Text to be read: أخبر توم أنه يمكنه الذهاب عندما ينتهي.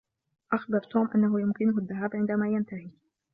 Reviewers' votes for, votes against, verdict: 2, 0, accepted